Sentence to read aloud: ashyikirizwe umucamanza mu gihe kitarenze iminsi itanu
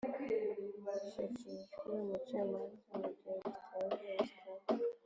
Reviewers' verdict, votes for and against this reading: rejected, 0, 2